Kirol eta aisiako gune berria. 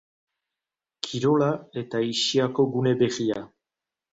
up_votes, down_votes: 2, 2